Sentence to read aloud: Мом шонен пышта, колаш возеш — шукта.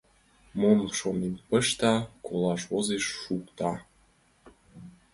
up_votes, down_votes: 2, 0